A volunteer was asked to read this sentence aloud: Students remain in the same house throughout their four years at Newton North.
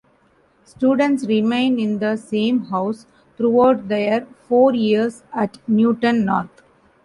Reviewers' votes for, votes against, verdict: 2, 0, accepted